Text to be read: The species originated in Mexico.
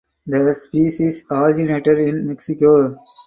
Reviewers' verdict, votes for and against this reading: rejected, 0, 4